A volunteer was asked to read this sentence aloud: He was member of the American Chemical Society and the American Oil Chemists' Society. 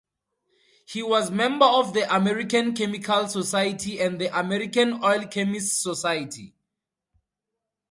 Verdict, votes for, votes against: accepted, 2, 0